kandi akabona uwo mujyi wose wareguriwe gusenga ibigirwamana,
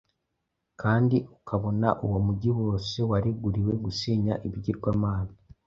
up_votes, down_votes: 1, 2